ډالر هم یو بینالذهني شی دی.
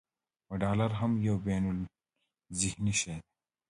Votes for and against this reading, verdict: 2, 1, accepted